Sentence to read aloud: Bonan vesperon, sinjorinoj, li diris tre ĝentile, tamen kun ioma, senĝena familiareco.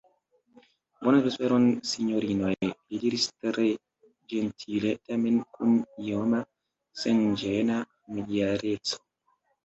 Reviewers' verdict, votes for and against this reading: rejected, 0, 2